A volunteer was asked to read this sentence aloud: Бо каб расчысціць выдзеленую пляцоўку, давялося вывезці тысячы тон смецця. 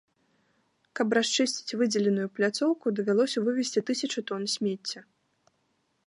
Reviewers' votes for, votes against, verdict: 2, 3, rejected